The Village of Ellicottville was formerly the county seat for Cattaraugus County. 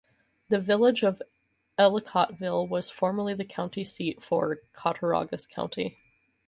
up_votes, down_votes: 4, 0